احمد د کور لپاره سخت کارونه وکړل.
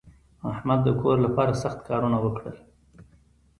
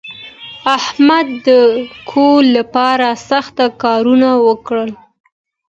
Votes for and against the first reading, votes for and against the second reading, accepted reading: 2, 0, 1, 2, first